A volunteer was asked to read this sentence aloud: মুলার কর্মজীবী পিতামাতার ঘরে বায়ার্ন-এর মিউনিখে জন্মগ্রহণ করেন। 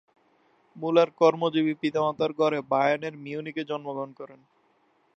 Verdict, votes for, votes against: rejected, 0, 2